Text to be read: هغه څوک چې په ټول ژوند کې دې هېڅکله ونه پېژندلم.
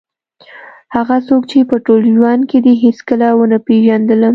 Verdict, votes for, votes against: accepted, 2, 0